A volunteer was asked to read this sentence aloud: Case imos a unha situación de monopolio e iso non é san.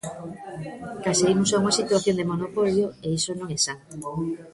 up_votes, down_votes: 2, 1